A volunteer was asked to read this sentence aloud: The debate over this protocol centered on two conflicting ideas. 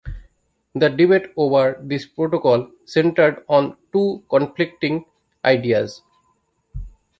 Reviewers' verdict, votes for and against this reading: accepted, 2, 0